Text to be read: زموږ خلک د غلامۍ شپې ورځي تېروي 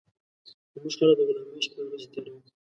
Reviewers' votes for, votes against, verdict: 1, 2, rejected